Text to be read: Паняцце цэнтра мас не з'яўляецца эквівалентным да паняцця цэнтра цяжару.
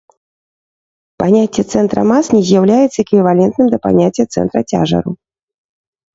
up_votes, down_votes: 3, 0